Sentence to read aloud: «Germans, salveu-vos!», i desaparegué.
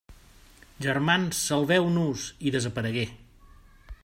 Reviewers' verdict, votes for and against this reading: rejected, 0, 2